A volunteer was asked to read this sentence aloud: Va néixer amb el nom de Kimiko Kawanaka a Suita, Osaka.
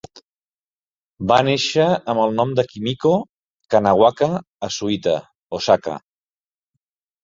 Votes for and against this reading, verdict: 0, 2, rejected